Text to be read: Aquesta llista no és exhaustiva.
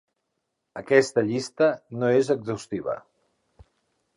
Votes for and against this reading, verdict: 3, 0, accepted